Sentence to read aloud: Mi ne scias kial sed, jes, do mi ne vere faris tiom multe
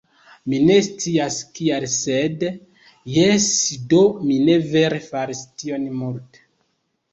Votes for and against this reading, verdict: 0, 2, rejected